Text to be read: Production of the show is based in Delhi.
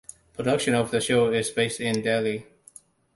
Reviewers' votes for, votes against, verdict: 2, 0, accepted